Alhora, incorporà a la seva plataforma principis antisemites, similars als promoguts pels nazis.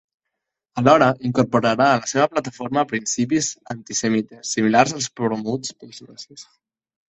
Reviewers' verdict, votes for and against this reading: rejected, 0, 2